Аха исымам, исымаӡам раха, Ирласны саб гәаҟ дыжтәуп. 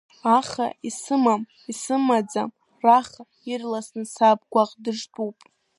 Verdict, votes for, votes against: rejected, 1, 2